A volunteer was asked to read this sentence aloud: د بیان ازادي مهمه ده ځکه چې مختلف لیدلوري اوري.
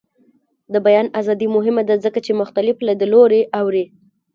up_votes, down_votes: 2, 0